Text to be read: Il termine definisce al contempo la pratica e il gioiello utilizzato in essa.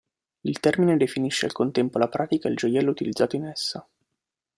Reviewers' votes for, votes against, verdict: 2, 0, accepted